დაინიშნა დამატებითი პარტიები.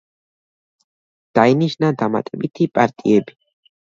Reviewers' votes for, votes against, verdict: 2, 0, accepted